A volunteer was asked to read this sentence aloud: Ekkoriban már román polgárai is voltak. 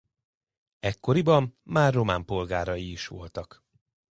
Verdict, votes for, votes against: accepted, 2, 0